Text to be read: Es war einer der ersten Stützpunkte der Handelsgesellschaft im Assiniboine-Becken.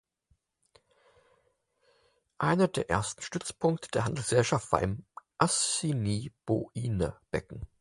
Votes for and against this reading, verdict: 0, 4, rejected